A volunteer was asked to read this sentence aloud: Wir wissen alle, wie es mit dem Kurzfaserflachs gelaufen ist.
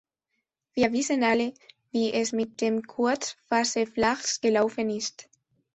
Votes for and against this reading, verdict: 2, 0, accepted